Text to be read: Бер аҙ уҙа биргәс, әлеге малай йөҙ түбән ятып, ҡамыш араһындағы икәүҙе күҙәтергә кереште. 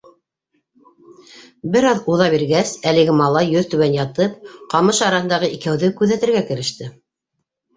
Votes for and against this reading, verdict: 0, 2, rejected